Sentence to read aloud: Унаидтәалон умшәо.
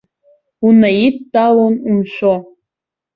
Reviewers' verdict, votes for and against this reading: accepted, 2, 0